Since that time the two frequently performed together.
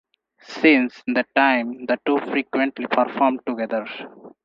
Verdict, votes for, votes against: accepted, 2, 0